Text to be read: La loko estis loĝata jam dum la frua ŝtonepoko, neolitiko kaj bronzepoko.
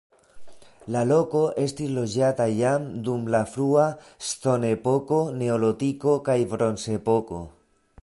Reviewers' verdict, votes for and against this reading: rejected, 1, 2